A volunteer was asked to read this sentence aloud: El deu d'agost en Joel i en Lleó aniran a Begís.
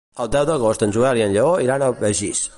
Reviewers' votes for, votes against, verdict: 2, 3, rejected